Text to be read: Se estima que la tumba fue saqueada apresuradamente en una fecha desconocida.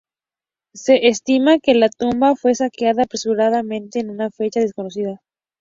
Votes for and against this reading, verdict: 2, 0, accepted